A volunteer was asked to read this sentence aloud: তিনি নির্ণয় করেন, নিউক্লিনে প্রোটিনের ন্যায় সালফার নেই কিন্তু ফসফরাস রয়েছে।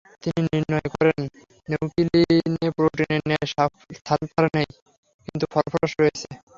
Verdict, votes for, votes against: rejected, 0, 3